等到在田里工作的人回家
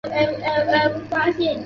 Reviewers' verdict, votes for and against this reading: rejected, 1, 3